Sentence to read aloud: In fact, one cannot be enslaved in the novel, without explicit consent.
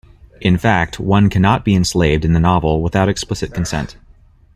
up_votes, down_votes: 2, 0